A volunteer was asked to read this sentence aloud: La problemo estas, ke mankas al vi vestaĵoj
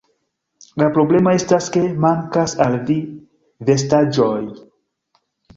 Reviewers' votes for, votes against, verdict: 1, 2, rejected